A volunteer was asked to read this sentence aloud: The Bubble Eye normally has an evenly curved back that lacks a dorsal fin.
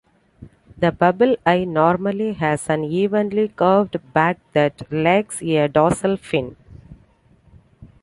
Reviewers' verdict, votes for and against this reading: accepted, 2, 0